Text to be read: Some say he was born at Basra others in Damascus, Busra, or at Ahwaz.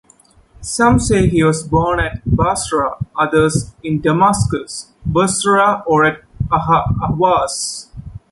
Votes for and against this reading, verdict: 0, 2, rejected